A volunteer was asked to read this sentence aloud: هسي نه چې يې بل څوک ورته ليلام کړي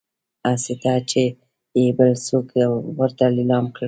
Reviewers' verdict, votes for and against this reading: accepted, 2, 1